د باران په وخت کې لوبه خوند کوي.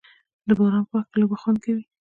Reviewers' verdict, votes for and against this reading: rejected, 1, 2